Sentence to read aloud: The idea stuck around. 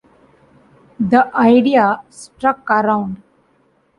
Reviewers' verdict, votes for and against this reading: rejected, 1, 2